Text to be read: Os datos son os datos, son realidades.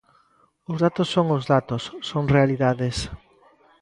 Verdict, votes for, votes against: rejected, 0, 2